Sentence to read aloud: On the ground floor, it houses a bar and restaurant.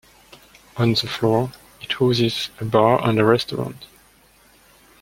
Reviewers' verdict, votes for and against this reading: rejected, 0, 2